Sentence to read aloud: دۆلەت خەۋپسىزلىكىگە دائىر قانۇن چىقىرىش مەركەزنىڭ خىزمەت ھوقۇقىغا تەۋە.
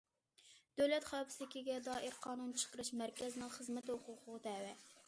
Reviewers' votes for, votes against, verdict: 1, 2, rejected